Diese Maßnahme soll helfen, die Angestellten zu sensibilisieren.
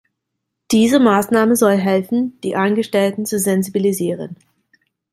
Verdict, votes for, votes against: accepted, 2, 0